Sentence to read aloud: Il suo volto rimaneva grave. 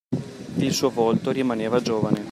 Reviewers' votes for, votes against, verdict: 0, 2, rejected